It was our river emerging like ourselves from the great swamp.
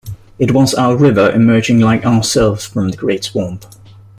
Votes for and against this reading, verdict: 2, 0, accepted